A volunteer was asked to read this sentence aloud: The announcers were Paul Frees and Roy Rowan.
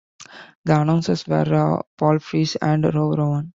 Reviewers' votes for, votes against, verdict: 1, 2, rejected